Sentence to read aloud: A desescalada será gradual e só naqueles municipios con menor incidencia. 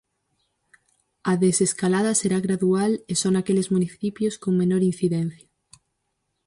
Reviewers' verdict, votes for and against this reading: accepted, 4, 0